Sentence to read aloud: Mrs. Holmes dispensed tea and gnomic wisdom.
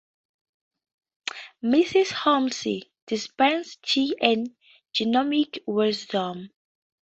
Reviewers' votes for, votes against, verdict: 2, 0, accepted